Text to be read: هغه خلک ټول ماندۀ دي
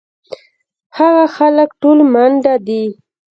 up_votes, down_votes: 0, 2